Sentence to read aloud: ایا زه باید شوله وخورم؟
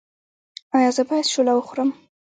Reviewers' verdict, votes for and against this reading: accepted, 2, 1